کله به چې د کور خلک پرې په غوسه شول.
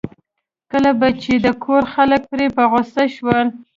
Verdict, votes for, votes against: accepted, 2, 0